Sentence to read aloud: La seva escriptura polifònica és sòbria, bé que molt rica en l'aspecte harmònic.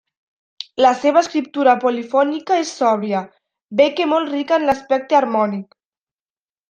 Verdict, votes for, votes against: accepted, 2, 0